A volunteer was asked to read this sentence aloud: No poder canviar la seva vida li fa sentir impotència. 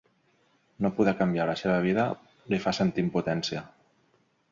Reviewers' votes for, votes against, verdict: 3, 0, accepted